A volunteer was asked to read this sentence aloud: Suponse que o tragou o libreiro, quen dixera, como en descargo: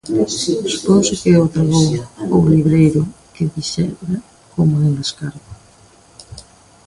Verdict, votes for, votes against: rejected, 0, 2